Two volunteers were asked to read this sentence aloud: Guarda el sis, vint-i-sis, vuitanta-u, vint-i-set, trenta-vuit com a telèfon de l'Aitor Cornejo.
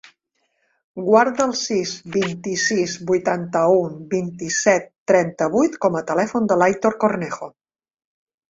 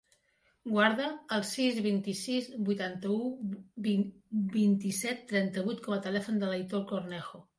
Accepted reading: first